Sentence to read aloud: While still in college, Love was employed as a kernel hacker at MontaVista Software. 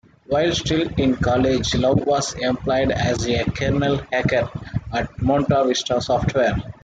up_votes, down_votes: 2, 1